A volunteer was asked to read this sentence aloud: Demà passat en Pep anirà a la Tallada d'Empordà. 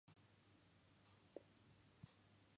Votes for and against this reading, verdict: 0, 2, rejected